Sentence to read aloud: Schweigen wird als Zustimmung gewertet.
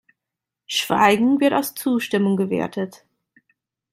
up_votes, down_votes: 2, 0